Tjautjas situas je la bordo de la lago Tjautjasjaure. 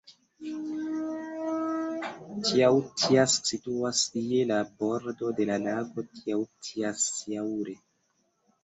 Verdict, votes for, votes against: accepted, 2, 1